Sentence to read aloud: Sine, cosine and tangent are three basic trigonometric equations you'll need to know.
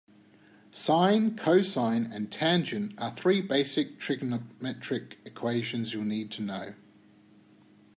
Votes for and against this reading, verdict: 1, 2, rejected